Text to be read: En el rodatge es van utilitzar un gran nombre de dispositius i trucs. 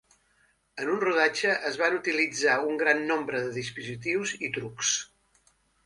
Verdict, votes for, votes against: rejected, 1, 2